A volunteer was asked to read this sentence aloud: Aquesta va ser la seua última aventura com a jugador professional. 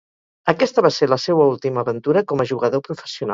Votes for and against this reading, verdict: 2, 2, rejected